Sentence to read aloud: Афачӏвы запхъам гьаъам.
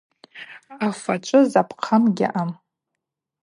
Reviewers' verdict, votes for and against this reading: accepted, 2, 0